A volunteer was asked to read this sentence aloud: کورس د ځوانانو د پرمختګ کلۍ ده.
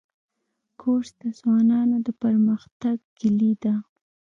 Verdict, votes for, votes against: accepted, 2, 0